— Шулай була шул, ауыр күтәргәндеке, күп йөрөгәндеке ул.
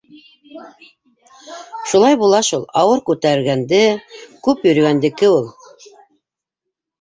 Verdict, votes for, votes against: rejected, 0, 2